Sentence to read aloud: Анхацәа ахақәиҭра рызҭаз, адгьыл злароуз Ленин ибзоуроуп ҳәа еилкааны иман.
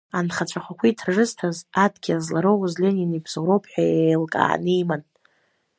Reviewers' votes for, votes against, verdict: 1, 2, rejected